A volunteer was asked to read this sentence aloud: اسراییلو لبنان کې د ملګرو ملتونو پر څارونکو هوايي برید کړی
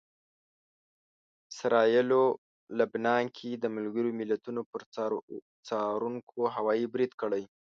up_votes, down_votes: 0, 2